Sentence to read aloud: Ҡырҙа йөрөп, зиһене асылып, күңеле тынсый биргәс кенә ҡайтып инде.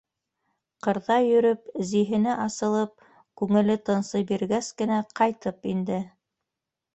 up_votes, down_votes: 2, 0